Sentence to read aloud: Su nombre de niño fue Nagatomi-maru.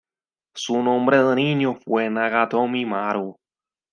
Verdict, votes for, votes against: rejected, 1, 2